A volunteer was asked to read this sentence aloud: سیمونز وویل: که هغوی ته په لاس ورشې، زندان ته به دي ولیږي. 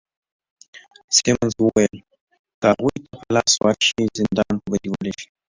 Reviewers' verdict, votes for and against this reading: accepted, 2, 0